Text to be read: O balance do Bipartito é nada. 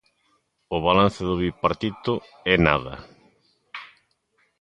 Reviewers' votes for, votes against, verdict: 2, 0, accepted